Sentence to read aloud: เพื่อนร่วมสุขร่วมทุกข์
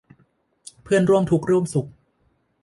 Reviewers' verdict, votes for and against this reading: rejected, 1, 2